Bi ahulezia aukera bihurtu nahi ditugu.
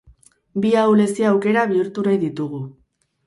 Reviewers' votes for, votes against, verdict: 4, 0, accepted